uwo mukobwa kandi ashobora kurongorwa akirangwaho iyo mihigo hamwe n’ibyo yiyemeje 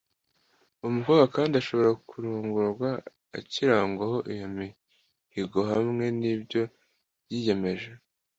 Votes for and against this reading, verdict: 2, 0, accepted